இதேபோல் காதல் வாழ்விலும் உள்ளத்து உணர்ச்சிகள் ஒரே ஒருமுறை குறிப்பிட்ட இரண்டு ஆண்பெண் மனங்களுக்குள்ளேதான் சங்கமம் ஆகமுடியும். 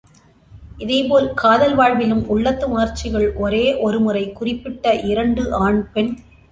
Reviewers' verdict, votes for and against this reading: rejected, 0, 2